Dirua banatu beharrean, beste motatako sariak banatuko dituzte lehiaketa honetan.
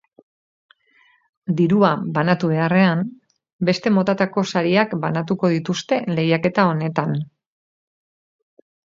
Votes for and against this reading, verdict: 4, 0, accepted